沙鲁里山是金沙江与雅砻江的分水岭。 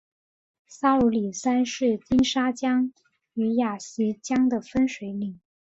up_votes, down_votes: 3, 0